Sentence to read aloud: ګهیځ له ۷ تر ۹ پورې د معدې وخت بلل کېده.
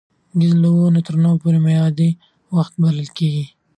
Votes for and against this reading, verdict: 0, 2, rejected